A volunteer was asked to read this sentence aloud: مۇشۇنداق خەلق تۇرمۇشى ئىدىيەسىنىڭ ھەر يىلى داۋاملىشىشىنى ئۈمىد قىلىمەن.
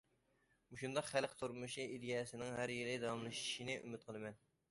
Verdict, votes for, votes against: accepted, 2, 0